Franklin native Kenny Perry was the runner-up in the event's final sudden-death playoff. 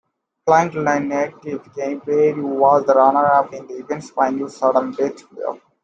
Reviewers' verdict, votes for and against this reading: accepted, 2, 0